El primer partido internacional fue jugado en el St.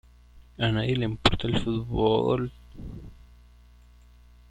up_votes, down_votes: 0, 2